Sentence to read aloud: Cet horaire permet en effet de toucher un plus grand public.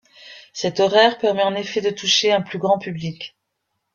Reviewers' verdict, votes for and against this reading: accepted, 2, 0